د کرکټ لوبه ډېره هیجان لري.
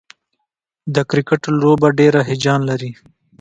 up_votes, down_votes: 2, 0